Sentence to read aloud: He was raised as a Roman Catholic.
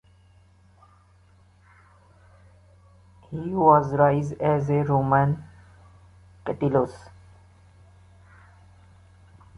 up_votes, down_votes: 1, 2